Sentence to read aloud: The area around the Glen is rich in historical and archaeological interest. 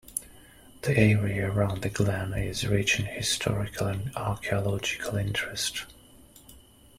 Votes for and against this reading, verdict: 2, 0, accepted